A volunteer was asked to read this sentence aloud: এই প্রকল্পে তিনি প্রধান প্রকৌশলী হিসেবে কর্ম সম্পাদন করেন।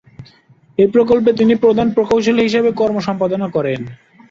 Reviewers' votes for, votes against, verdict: 1, 3, rejected